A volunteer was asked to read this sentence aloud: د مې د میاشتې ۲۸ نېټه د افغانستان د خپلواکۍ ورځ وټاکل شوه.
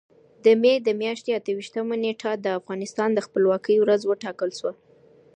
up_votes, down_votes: 0, 2